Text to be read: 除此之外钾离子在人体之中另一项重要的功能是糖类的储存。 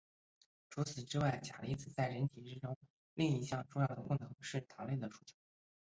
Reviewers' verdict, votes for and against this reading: rejected, 1, 2